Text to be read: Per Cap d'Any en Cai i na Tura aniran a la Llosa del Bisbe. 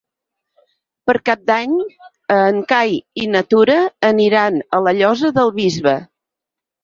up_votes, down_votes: 6, 0